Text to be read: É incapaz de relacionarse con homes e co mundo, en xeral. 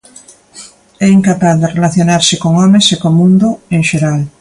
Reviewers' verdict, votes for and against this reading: accepted, 2, 0